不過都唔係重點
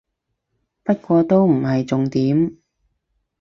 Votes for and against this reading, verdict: 4, 0, accepted